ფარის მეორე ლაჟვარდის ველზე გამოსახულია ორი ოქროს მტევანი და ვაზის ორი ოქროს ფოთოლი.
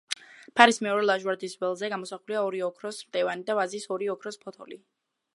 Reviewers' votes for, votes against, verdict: 2, 0, accepted